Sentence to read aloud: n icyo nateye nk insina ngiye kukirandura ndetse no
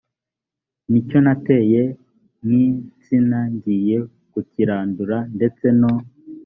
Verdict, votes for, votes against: accepted, 2, 0